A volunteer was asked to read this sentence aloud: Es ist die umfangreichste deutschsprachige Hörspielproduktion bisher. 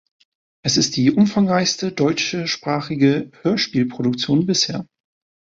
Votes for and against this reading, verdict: 0, 2, rejected